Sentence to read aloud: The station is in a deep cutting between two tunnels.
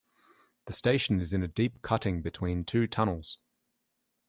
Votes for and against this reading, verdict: 2, 0, accepted